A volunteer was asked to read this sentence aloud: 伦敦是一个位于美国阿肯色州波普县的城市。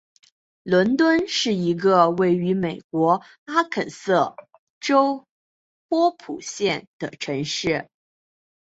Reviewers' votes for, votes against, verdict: 3, 1, accepted